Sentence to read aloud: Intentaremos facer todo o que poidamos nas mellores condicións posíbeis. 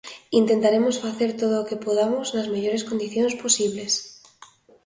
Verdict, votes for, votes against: rejected, 0, 2